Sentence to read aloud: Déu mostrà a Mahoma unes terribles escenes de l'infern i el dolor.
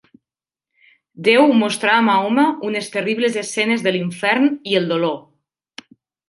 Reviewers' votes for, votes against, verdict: 2, 0, accepted